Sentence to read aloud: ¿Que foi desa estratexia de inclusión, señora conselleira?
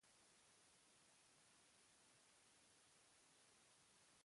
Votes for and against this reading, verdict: 0, 2, rejected